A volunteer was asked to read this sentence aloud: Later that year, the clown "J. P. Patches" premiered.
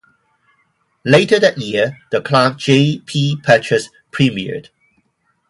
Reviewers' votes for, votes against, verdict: 6, 0, accepted